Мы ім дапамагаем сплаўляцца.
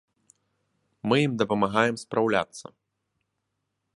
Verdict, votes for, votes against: rejected, 1, 2